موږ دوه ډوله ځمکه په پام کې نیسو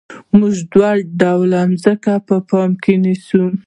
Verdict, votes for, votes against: accepted, 2, 0